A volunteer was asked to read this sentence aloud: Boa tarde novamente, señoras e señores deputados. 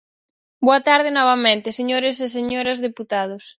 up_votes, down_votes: 0, 4